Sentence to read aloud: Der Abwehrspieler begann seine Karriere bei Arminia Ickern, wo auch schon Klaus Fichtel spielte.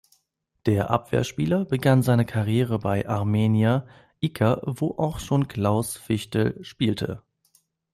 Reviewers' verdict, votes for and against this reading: rejected, 0, 2